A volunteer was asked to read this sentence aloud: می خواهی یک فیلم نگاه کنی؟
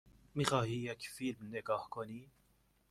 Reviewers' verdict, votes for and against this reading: accepted, 2, 0